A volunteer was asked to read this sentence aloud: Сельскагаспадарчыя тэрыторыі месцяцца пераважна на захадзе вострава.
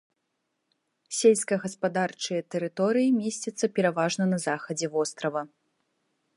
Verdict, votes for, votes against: accepted, 3, 0